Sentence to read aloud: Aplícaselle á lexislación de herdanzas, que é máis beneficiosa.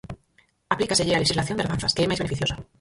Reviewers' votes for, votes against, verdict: 0, 4, rejected